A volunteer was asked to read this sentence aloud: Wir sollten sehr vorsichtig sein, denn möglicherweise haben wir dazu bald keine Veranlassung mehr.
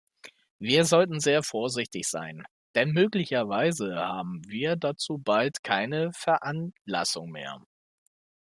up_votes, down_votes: 2, 1